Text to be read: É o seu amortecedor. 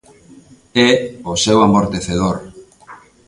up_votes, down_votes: 2, 0